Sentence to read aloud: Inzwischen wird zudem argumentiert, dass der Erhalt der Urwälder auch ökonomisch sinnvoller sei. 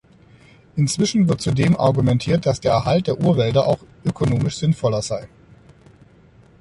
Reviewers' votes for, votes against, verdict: 2, 0, accepted